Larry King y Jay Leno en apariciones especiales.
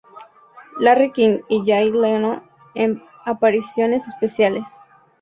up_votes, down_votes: 2, 0